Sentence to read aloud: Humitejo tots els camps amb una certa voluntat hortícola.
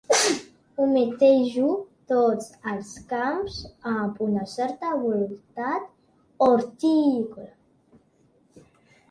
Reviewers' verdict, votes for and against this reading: rejected, 1, 2